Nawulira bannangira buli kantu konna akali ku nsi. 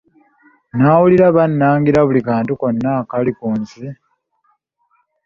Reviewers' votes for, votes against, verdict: 0, 2, rejected